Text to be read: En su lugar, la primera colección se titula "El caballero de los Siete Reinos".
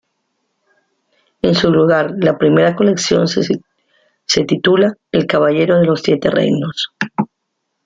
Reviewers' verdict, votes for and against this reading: rejected, 0, 2